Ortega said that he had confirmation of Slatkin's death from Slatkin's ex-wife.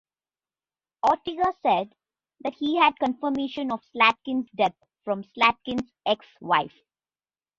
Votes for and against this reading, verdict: 0, 2, rejected